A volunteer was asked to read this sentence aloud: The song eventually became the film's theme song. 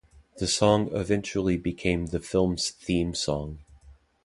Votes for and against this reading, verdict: 2, 0, accepted